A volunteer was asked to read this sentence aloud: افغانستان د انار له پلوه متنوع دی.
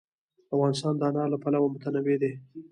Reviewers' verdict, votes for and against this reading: accepted, 2, 1